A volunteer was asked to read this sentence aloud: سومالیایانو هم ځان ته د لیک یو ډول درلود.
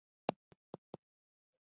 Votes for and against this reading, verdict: 1, 2, rejected